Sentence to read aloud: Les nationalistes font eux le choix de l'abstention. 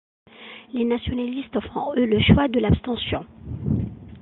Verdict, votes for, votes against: accepted, 2, 0